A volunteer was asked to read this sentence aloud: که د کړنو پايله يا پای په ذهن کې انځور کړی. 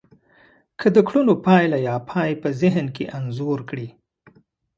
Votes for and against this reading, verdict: 2, 0, accepted